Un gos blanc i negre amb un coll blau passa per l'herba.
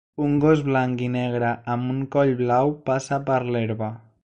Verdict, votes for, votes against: accepted, 3, 0